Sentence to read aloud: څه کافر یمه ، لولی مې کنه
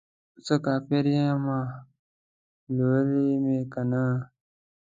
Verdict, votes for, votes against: rejected, 0, 2